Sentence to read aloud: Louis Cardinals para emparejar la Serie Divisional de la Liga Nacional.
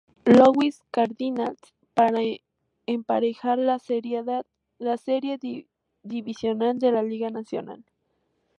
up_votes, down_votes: 0, 2